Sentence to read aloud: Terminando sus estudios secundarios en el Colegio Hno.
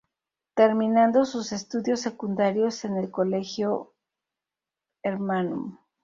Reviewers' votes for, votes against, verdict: 4, 4, rejected